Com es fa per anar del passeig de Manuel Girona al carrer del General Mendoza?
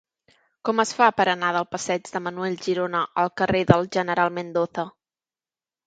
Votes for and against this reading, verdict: 0, 2, rejected